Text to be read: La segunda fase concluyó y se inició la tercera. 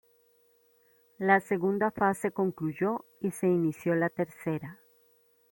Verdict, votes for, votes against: accepted, 2, 0